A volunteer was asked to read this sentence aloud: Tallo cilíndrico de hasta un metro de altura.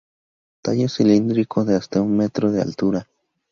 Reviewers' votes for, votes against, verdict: 2, 0, accepted